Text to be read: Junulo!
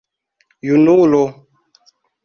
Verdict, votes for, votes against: accepted, 2, 0